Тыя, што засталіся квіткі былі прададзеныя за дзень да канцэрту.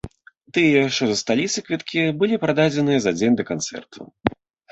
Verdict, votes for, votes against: accepted, 2, 1